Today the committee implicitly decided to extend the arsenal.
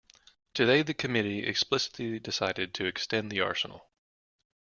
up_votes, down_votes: 0, 3